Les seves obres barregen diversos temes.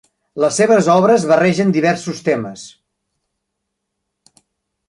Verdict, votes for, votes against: accepted, 3, 0